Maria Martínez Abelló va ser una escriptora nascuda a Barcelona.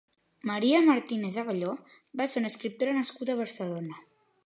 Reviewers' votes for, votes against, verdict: 2, 0, accepted